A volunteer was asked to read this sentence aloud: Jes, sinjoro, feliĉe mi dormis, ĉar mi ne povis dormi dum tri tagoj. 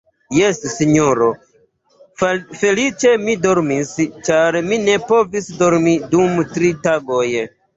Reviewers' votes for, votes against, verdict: 3, 0, accepted